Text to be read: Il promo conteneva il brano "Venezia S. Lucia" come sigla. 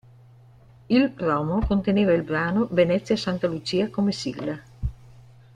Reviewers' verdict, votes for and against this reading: accepted, 2, 0